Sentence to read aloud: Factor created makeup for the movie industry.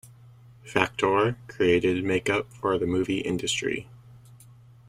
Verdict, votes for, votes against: accepted, 2, 0